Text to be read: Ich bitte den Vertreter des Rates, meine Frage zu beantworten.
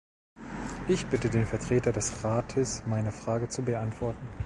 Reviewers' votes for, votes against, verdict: 2, 0, accepted